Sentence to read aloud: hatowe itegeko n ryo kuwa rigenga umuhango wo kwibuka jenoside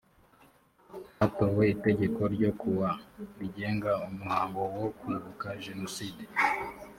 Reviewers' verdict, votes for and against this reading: accepted, 3, 0